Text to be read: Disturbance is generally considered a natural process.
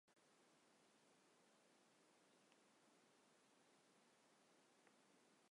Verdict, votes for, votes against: rejected, 0, 2